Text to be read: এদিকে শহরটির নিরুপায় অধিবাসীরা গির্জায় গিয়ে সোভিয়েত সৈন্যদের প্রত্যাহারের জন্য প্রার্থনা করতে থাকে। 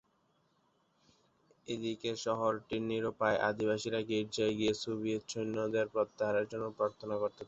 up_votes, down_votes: 3, 9